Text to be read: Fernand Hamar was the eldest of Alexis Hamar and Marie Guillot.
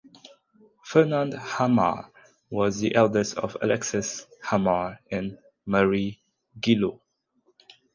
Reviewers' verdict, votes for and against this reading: rejected, 0, 2